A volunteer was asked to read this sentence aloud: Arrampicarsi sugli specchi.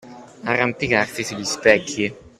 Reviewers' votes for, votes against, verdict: 2, 0, accepted